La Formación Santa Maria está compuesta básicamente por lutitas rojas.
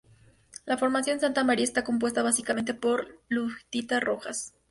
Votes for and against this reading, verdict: 0, 2, rejected